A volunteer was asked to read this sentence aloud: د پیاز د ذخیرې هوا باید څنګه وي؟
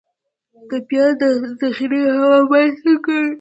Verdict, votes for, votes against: rejected, 1, 2